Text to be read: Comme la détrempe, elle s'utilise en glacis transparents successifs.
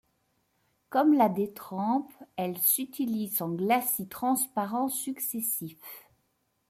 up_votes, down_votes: 2, 0